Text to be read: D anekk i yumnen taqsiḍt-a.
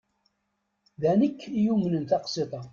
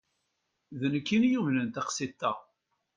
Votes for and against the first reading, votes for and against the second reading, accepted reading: 1, 2, 2, 0, second